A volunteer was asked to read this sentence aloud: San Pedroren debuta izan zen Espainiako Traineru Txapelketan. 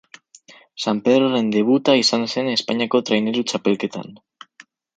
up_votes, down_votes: 4, 0